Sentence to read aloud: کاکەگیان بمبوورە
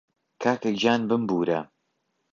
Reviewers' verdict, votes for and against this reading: accepted, 2, 0